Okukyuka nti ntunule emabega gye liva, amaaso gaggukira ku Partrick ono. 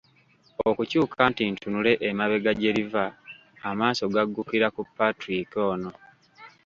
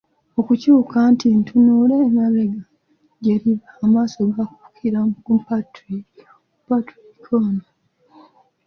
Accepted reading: first